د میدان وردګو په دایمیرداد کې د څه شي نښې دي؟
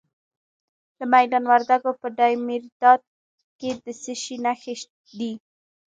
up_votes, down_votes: 2, 1